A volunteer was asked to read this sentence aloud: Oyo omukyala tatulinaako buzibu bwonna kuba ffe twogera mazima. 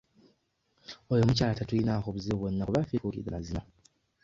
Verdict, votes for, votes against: rejected, 0, 2